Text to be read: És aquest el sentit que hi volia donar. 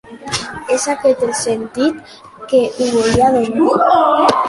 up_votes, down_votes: 1, 2